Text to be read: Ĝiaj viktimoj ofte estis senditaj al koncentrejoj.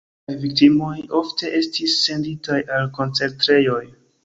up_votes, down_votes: 2, 1